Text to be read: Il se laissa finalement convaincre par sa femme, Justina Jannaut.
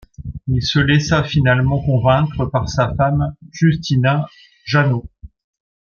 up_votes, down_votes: 2, 0